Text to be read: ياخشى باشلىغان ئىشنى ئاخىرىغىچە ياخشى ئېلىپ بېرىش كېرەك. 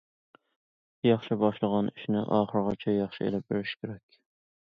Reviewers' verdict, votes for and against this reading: accepted, 3, 0